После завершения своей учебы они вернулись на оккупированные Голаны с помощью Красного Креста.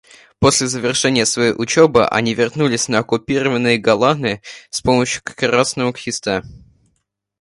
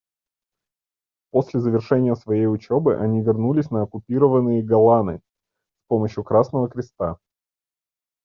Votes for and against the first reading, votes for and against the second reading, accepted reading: 2, 0, 1, 2, first